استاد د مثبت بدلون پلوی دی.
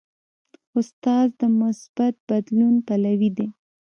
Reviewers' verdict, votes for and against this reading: rejected, 1, 2